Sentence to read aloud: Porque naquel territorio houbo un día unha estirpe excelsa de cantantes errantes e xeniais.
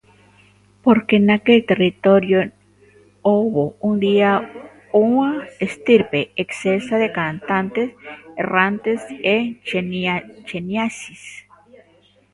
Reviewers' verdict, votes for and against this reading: rejected, 0, 2